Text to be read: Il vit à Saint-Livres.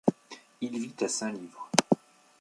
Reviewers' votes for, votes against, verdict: 1, 2, rejected